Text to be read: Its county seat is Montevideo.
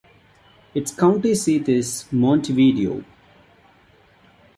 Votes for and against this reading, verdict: 0, 2, rejected